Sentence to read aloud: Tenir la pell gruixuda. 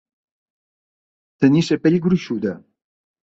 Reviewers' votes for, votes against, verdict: 1, 2, rejected